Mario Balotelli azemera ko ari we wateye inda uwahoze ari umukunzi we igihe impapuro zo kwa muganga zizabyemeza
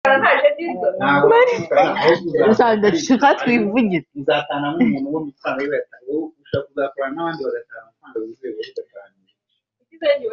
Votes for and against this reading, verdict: 1, 2, rejected